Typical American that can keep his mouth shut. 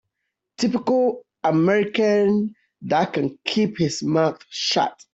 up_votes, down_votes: 2, 0